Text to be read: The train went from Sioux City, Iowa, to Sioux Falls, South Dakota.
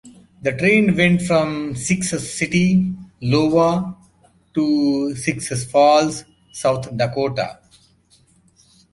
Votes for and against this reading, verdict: 0, 2, rejected